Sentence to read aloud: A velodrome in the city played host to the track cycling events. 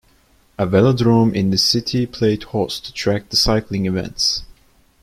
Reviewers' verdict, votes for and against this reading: rejected, 1, 2